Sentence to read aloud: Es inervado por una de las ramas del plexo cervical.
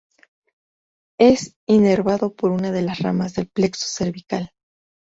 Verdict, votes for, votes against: accepted, 2, 0